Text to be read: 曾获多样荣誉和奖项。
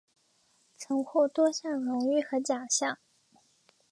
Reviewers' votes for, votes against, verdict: 3, 0, accepted